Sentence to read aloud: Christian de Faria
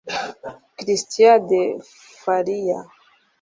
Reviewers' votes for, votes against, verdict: 1, 2, rejected